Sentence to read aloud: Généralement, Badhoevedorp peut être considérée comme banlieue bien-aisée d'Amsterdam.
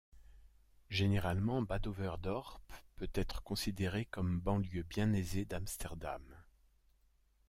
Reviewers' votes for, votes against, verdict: 2, 0, accepted